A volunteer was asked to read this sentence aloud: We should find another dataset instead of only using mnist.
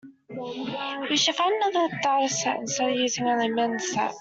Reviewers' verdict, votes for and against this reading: rejected, 0, 2